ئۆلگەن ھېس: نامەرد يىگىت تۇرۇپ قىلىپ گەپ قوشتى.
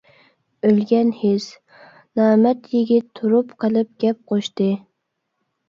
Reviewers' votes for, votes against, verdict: 0, 2, rejected